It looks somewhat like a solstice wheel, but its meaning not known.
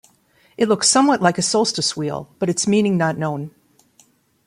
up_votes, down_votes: 2, 0